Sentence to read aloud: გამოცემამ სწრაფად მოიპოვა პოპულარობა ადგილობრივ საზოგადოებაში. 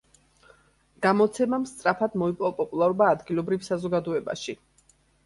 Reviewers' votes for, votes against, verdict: 3, 1, accepted